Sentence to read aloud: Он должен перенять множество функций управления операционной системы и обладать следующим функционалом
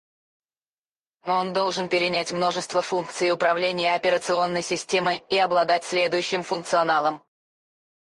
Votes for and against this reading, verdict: 2, 2, rejected